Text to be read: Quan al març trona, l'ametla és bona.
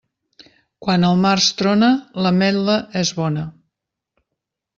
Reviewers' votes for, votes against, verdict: 2, 0, accepted